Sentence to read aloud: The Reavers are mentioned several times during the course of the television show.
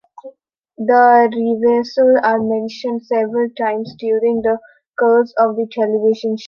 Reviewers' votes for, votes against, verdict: 0, 2, rejected